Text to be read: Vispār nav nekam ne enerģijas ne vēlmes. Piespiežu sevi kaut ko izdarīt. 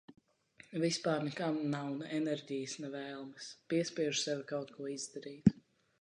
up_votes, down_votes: 0, 2